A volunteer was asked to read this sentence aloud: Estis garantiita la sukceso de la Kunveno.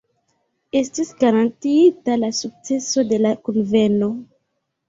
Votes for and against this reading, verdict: 2, 0, accepted